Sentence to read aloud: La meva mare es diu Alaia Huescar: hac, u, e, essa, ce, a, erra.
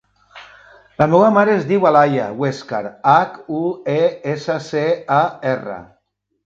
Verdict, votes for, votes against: accepted, 4, 0